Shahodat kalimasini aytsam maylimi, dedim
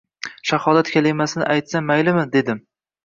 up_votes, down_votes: 2, 1